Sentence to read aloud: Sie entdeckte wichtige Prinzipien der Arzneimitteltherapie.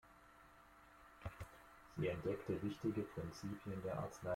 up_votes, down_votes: 0, 2